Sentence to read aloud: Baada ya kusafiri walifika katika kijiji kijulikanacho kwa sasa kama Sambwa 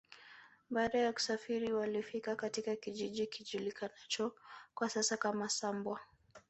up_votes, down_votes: 2, 0